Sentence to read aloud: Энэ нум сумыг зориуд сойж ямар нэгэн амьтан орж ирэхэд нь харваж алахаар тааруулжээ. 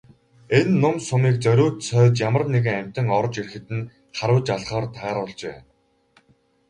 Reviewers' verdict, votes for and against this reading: rejected, 2, 2